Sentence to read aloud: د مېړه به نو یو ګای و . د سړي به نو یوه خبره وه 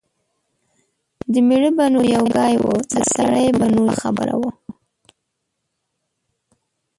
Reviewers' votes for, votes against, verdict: 0, 2, rejected